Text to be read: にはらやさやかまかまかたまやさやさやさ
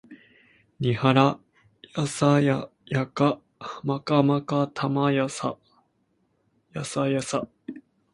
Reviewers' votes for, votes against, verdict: 0, 2, rejected